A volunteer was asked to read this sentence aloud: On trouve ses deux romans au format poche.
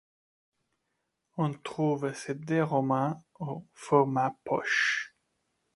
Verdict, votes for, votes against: accepted, 2, 0